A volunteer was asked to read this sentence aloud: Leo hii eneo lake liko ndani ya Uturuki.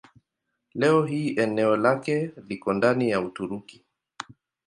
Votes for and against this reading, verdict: 2, 0, accepted